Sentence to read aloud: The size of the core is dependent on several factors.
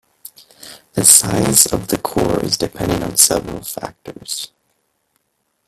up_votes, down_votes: 2, 1